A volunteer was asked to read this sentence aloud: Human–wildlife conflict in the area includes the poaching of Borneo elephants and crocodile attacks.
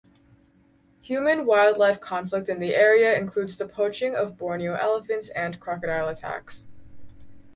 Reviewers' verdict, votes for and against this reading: rejected, 2, 2